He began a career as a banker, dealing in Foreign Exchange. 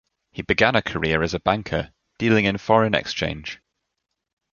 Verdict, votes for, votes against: accepted, 2, 0